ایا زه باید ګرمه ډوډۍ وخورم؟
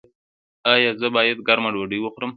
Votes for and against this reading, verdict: 3, 0, accepted